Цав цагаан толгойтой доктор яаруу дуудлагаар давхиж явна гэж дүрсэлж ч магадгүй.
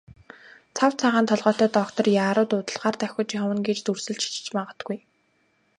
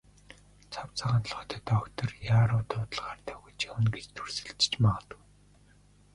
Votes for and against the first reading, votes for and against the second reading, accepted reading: 2, 0, 0, 3, first